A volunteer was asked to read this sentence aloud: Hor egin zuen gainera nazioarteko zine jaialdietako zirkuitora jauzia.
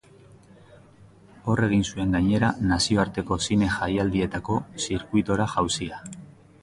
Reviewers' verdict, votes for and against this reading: rejected, 1, 2